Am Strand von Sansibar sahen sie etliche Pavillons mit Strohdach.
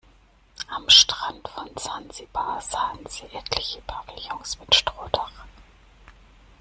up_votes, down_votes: 2, 0